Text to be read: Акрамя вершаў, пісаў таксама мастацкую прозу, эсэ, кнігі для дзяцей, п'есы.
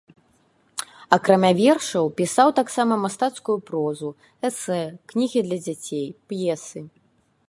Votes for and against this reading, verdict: 2, 0, accepted